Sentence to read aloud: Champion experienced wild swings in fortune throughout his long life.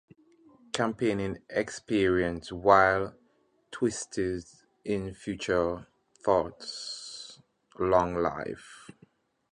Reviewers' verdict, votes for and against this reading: rejected, 0, 2